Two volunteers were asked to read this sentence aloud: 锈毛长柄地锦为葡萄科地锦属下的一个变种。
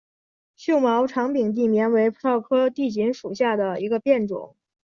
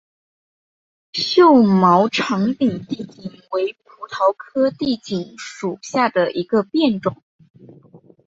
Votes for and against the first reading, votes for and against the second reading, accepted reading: 0, 2, 5, 1, second